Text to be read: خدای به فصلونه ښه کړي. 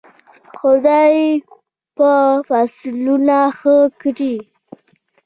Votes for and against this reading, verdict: 2, 0, accepted